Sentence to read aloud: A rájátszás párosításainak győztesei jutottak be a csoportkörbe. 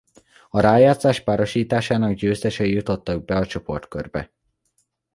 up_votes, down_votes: 0, 2